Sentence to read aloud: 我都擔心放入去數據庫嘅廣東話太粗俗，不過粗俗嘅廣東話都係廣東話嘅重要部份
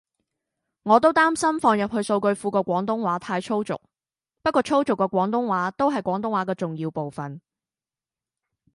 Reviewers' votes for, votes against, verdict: 0, 2, rejected